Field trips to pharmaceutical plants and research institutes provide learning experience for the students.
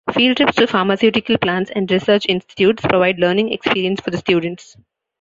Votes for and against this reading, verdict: 1, 2, rejected